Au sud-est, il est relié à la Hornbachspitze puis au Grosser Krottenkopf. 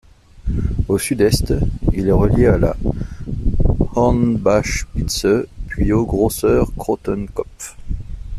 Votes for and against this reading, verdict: 2, 1, accepted